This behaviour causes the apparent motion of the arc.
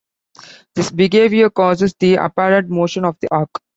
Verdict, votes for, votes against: accepted, 2, 1